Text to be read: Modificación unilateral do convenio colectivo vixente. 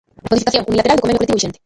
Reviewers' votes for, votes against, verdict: 0, 2, rejected